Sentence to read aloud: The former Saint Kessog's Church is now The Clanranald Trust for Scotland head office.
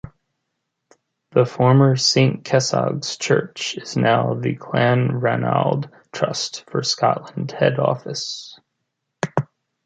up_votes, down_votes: 2, 0